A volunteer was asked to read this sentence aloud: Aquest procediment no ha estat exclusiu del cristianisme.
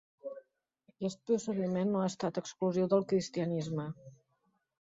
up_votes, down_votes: 0, 2